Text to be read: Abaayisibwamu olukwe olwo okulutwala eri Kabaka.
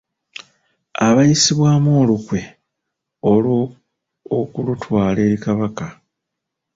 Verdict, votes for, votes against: rejected, 0, 2